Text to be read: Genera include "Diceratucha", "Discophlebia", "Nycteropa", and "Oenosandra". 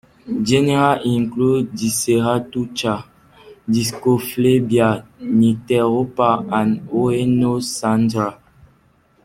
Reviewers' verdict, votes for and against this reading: accepted, 2, 1